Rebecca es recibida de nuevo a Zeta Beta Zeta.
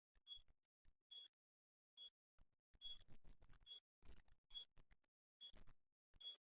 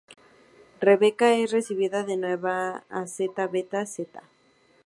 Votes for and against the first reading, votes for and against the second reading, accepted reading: 0, 2, 2, 0, second